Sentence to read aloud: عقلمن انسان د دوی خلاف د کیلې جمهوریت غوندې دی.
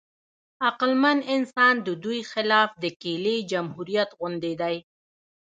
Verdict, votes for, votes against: accepted, 2, 1